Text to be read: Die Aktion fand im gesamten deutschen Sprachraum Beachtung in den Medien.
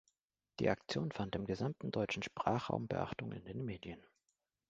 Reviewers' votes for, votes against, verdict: 2, 0, accepted